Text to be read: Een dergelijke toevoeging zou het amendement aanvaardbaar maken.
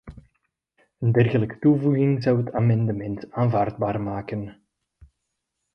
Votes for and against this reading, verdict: 2, 0, accepted